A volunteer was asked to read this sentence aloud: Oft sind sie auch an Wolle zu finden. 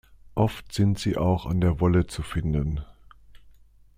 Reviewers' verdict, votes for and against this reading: rejected, 0, 2